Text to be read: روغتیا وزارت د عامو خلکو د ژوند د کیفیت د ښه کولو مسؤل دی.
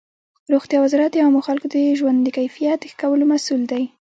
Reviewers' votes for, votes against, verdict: 0, 2, rejected